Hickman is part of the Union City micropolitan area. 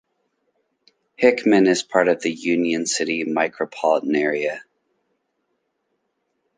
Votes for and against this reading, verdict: 1, 2, rejected